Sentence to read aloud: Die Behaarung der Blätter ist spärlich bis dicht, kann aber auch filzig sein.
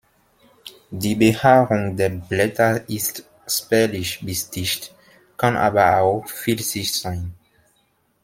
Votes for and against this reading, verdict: 2, 0, accepted